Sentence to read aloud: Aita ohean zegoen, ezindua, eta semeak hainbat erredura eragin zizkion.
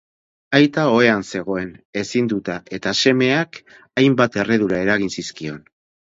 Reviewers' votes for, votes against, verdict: 0, 4, rejected